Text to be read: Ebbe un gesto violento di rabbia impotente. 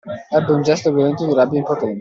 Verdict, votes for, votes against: rejected, 0, 2